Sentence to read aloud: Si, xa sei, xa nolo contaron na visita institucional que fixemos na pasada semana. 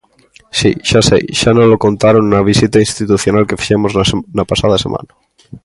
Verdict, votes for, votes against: rejected, 0, 2